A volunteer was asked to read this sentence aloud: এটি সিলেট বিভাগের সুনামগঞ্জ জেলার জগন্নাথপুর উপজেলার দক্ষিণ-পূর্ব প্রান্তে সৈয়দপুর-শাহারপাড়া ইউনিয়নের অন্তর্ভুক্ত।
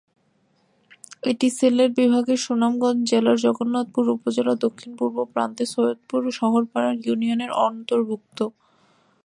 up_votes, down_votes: 0, 2